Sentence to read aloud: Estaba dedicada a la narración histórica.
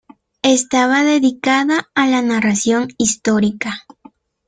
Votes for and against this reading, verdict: 2, 0, accepted